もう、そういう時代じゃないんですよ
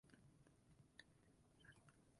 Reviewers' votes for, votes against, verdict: 0, 2, rejected